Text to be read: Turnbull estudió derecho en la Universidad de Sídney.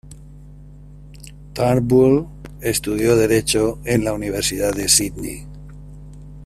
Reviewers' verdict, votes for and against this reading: accepted, 2, 1